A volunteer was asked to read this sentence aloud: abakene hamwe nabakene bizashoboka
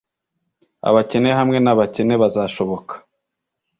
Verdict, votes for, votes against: rejected, 1, 2